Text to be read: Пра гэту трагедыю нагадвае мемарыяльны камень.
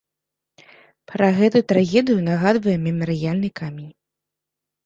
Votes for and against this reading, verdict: 2, 0, accepted